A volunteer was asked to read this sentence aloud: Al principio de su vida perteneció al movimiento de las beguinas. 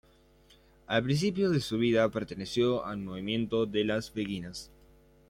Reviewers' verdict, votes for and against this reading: accepted, 3, 1